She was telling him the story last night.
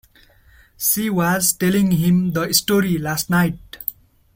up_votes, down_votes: 3, 0